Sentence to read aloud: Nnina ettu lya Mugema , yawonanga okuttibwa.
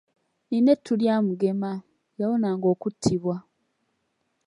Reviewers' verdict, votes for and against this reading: accepted, 2, 1